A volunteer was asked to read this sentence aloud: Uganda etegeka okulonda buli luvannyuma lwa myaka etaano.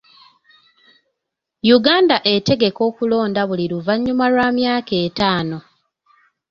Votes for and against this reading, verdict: 2, 0, accepted